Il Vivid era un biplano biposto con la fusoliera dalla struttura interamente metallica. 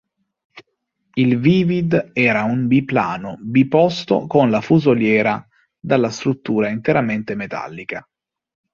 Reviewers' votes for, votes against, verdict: 2, 0, accepted